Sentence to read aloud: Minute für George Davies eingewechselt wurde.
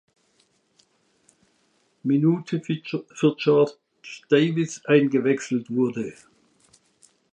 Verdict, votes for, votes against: rejected, 1, 2